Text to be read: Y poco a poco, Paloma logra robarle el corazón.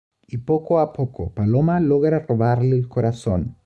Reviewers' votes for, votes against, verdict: 2, 0, accepted